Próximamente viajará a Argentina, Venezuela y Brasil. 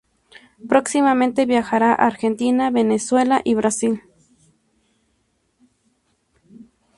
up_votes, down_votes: 2, 0